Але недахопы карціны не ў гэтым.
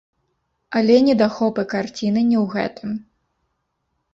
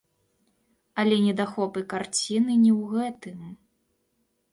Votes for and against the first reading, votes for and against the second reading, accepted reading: 0, 2, 2, 1, second